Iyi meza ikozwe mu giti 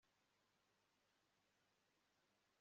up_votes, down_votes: 1, 2